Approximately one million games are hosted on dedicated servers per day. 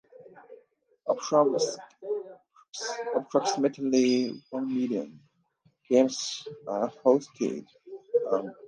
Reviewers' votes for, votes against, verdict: 0, 2, rejected